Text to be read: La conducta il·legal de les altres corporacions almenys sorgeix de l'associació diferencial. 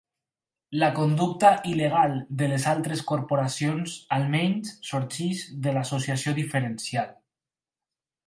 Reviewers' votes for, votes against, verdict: 4, 0, accepted